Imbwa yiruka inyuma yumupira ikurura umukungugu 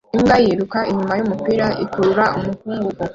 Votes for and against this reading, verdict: 2, 1, accepted